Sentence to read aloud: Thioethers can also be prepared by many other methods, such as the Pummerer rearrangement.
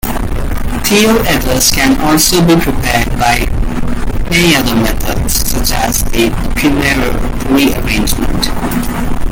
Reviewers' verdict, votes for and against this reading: accepted, 2, 1